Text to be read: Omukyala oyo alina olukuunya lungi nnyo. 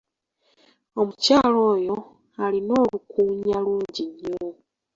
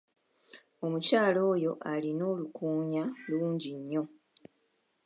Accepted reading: first